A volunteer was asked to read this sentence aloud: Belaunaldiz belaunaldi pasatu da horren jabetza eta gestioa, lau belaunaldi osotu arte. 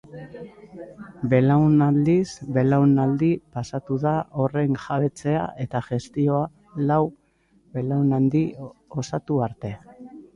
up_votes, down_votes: 0, 2